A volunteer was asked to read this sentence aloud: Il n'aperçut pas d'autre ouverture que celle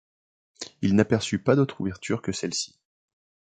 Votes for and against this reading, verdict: 1, 2, rejected